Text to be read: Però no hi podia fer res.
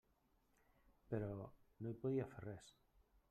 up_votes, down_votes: 0, 2